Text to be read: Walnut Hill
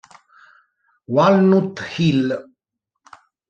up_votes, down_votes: 1, 2